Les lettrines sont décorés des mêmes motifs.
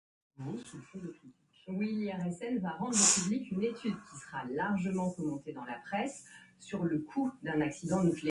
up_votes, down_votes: 0, 2